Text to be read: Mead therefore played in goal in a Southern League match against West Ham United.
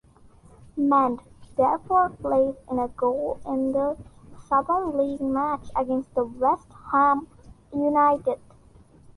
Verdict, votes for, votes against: rejected, 0, 2